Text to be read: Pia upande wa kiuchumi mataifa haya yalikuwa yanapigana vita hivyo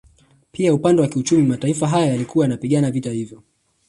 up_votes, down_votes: 2, 0